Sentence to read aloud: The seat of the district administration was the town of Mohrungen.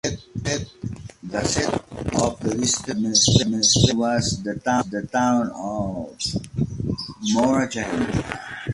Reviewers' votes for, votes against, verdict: 0, 2, rejected